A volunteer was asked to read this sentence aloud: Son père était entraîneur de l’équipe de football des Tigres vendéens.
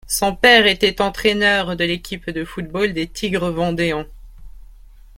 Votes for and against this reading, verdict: 2, 1, accepted